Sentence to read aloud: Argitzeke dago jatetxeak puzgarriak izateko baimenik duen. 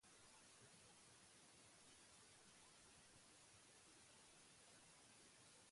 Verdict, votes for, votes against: rejected, 0, 4